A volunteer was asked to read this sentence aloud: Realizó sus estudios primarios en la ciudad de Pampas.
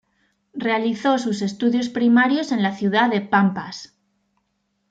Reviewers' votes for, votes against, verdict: 2, 0, accepted